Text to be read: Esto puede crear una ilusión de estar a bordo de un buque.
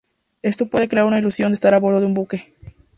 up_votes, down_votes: 2, 0